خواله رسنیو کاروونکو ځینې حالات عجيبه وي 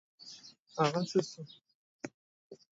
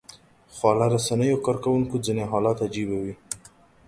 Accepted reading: second